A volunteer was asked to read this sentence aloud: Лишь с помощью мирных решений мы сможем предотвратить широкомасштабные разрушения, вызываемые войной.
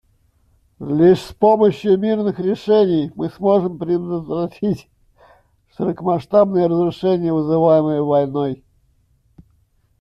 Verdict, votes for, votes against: accepted, 2, 0